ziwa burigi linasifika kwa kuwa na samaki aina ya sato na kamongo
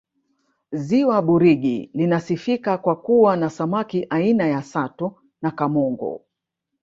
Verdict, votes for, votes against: rejected, 1, 2